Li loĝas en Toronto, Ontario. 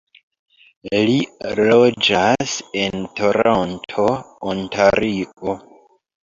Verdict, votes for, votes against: rejected, 1, 2